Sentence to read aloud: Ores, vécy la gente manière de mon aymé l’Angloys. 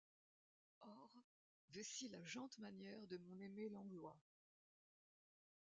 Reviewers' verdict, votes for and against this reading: accepted, 2, 1